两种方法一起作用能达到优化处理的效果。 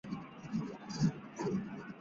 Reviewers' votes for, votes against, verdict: 2, 4, rejected